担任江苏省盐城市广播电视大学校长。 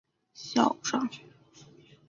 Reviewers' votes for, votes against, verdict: 1, 5, rejected